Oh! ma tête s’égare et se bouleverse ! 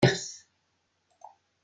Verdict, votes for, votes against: rejected, 0, 2